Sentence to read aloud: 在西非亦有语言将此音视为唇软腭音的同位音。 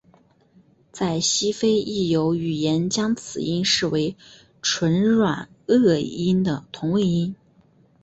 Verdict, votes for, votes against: accepted, 4, 0